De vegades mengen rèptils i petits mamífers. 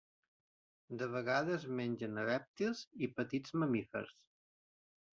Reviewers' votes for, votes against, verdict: 1, 2, rejected